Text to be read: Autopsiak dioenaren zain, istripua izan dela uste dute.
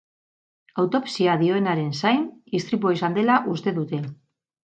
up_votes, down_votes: 2, 2